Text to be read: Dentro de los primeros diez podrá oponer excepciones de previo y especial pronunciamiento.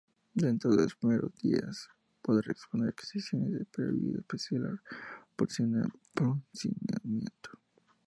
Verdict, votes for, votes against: rejected, 0, 2